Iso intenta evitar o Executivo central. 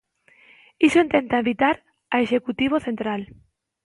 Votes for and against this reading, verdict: 1, 2, rejected